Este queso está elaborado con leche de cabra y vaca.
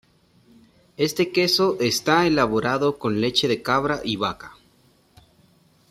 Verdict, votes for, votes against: accepted, 2, 1